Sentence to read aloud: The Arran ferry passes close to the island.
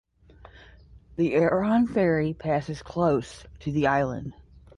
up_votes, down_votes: 10, 0